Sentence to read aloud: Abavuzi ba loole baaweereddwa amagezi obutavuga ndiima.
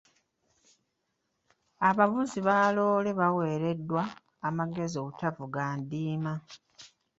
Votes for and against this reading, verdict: 0, 2, rejected